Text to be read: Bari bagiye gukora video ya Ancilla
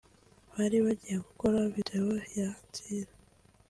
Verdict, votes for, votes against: accepted, 3, 0